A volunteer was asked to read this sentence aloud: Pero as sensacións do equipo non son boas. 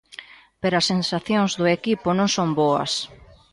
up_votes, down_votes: 2, 0